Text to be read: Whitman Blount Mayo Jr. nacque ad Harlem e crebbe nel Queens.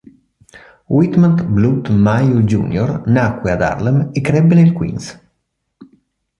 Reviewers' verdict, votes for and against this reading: accepted, 2, 0